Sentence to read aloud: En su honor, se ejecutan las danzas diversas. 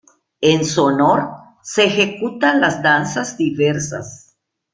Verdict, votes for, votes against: accepted, 2, 0